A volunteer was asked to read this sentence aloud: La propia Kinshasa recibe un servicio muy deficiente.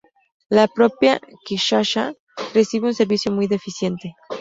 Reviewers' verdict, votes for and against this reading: accepted, 2, 0